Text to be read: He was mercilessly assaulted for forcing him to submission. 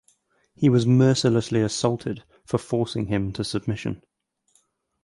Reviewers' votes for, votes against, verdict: 4, 0, accepted